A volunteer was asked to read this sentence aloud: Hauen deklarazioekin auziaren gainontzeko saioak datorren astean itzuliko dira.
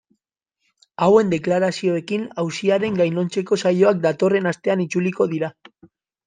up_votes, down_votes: 2, 0